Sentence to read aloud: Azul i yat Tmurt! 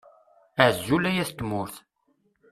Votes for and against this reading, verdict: 1, 2, rejected